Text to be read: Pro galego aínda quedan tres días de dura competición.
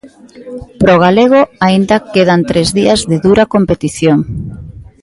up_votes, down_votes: 2, 0